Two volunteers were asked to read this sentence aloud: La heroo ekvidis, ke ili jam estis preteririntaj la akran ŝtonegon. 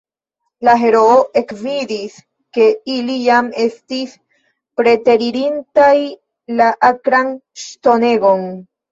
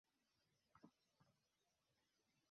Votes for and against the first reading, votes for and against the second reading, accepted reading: 2, 1, 0, 3, first